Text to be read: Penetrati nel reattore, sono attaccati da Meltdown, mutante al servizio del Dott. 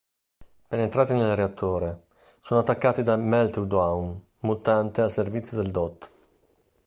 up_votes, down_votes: 2, 0